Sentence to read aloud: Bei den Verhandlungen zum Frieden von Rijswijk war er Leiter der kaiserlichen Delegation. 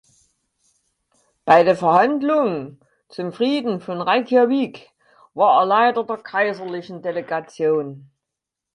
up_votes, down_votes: 0, 4